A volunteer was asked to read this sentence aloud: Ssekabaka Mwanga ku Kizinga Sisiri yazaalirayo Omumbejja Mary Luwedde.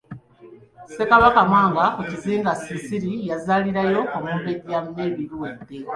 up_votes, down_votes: 2, 0